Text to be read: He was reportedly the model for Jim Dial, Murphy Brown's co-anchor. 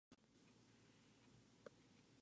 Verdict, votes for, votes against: rejected, 0, 2